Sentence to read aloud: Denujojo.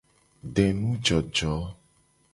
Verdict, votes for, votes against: accepted, 2, 0